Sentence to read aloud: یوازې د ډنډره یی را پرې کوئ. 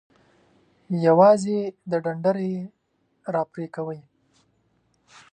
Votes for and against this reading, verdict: 2, 0, accepted